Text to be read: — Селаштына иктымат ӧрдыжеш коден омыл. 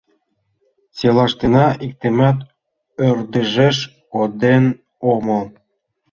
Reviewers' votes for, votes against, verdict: 2, 0, accepted